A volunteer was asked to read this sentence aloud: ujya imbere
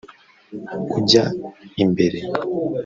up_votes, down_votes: 1, 2